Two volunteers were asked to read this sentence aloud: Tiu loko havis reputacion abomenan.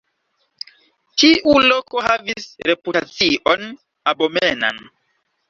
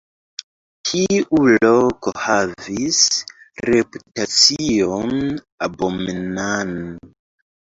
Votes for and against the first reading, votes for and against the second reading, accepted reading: 2, 0, 0, 2, first